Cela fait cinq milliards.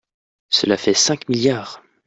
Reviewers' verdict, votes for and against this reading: accepted, 2, 0